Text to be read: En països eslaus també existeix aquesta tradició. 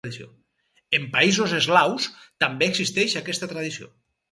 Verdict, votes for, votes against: rejected, 2, 2